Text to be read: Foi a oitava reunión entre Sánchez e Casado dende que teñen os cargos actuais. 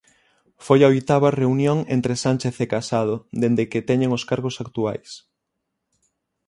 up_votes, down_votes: 6, 0